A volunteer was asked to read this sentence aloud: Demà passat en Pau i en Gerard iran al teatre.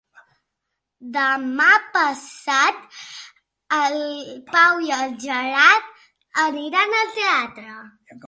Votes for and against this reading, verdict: 0, 2, rejected